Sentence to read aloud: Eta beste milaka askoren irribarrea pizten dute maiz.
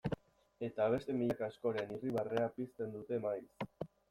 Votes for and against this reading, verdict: 2, 0, accepted